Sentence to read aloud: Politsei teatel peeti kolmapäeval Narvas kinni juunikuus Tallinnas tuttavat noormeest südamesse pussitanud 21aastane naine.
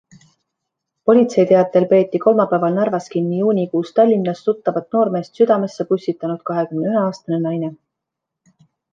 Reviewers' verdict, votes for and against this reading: rejected, 0, 2